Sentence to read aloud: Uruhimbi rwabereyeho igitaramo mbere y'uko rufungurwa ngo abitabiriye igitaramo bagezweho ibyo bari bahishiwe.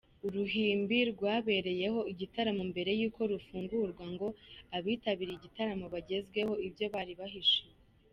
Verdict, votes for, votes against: accepted, 2, 0